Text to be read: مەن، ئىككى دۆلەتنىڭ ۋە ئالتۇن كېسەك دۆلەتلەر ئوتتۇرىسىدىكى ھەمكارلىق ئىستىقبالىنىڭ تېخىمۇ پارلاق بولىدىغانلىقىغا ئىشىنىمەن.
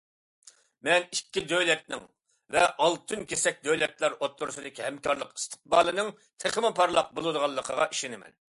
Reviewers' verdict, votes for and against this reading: accepted, 2, 0